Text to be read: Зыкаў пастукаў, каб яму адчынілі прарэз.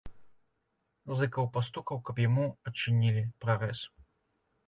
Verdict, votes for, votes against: accepted, 2, 0